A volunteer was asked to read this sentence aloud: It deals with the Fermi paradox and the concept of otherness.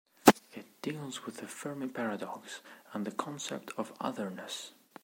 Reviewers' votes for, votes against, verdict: 2, 0, accepted